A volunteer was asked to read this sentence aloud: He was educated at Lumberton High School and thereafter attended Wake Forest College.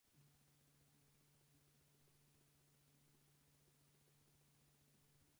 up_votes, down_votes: 2, 6